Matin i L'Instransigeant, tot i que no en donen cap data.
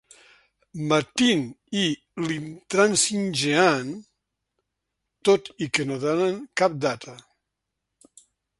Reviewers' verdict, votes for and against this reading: rejected, 0, 2